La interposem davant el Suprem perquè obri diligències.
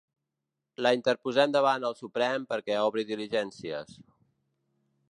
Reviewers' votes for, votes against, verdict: 3, 0, accepted